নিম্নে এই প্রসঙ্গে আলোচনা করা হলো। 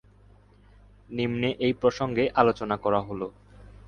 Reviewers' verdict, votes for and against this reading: accepted, 2, 0